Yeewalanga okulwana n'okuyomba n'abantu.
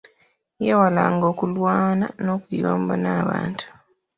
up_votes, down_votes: 2, 0